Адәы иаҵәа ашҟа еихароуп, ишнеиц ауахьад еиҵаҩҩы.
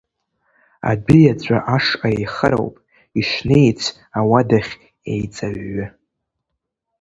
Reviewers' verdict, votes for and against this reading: rejected, 1, 2